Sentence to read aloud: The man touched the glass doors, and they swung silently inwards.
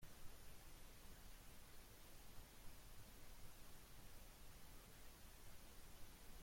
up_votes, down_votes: 0, 2